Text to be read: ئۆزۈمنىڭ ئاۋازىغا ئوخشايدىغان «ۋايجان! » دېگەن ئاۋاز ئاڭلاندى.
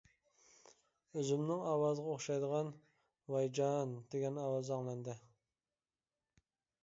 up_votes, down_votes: 2, 0